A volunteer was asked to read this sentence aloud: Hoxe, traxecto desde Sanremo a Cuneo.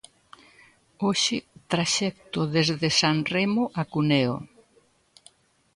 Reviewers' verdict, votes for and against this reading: accepted, 2, 0